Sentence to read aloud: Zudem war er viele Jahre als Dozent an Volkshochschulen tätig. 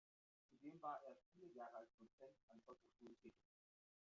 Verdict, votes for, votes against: rejected, 0, 2